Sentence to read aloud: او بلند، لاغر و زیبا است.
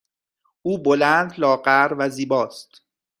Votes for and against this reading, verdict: 2, 0, accepted